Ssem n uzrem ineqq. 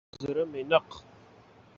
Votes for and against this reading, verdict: 1, 2, rejected